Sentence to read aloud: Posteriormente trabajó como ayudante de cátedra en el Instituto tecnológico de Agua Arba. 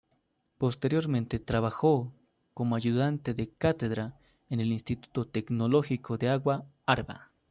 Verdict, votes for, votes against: rejected, 0, 2